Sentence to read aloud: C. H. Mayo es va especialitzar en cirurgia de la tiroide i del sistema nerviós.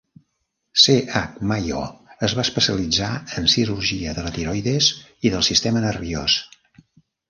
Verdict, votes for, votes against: rejected, 0, 2